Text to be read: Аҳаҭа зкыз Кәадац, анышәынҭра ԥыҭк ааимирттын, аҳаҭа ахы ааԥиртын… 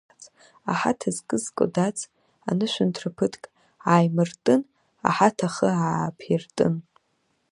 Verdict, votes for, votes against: rejected, 1, 2